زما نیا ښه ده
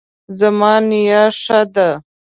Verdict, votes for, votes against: accepted, 2, 0